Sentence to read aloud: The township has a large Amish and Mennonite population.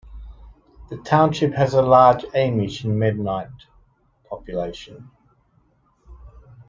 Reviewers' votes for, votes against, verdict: 1, 2, rejected